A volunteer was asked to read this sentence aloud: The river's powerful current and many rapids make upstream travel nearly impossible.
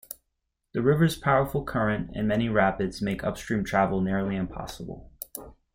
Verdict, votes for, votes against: accepted, 2, 0